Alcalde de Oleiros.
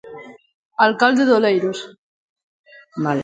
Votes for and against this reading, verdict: 0, 2, rejected